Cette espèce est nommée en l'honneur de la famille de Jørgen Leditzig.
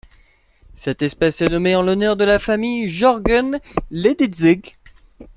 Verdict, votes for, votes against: rejected, 1, 2